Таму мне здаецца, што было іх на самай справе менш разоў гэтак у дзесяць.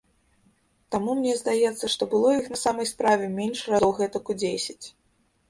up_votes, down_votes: 0, 2